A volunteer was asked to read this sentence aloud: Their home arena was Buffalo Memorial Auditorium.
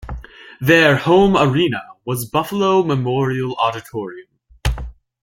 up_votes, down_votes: 2, 0